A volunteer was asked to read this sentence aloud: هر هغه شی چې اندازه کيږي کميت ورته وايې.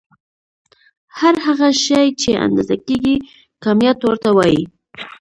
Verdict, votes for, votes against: accepted, 2, 0